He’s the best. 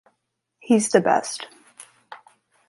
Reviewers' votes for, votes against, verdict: 2, 0, accepted